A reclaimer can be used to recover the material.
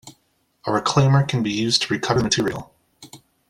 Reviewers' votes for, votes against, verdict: 0, 2, rejected